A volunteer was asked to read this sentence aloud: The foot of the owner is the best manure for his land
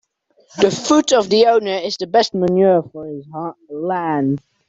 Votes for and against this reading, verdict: 0, 2, rejected